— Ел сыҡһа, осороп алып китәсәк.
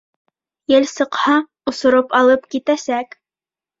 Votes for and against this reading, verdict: 2, 0, accepted